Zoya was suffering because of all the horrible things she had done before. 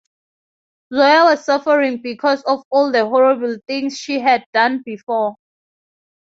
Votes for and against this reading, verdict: 2, 0, accepted